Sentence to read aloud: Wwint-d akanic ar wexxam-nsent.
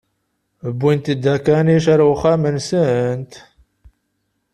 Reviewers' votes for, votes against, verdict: 0, 2, rejected